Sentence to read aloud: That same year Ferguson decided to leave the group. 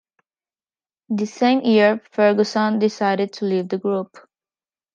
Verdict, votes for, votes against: rejected, 1, 2